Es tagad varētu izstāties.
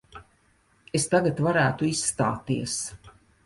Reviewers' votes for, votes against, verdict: 2, 0, accepted